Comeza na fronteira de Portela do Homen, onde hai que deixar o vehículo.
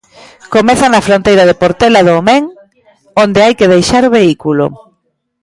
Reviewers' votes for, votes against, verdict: 1, 2, rejected